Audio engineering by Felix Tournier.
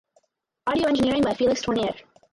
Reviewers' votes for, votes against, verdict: 4, 0, accepted